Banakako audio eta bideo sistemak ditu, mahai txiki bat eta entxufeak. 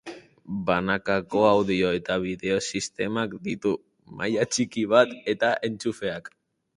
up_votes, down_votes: 0, 4